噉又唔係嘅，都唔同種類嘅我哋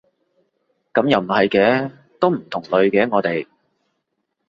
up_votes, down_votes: 0, 2